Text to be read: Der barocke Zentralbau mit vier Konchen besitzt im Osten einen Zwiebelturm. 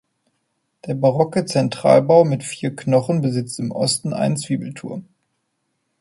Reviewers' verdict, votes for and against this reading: rejected, 0, 2